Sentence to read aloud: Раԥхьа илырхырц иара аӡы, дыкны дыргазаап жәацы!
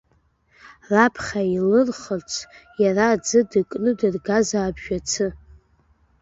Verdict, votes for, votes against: rejected, 0, 2